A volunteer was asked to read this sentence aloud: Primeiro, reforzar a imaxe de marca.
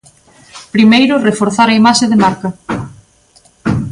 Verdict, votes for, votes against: accepted, 2, 0